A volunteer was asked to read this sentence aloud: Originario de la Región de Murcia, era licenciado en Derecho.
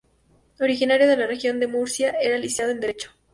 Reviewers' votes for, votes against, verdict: 0, 2, rejected